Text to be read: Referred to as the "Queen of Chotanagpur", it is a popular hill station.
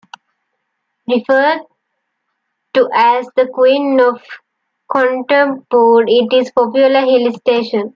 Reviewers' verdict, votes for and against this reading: rejected, 1, 2